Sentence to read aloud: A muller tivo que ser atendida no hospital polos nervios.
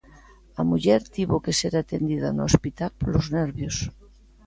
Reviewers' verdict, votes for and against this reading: accepted, 2, 0